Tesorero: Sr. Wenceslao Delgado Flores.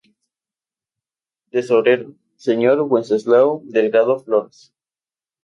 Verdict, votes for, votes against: rejected, 0, 2